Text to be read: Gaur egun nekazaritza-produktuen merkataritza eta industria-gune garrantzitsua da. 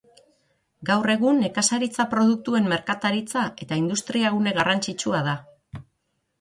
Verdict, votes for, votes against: accepted, 9, 0